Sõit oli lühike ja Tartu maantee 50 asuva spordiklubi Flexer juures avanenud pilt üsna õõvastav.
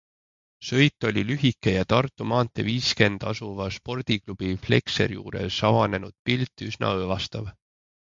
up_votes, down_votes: 0, 2